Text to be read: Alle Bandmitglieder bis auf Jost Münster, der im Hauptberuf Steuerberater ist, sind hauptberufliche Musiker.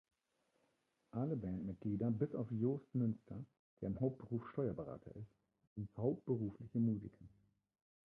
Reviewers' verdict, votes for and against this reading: rejected, 0, 2